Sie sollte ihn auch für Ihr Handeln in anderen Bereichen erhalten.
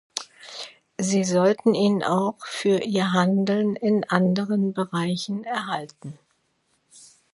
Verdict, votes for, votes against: rejected, 0, 2